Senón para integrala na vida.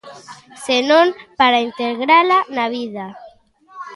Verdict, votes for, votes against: accepted, 2, 0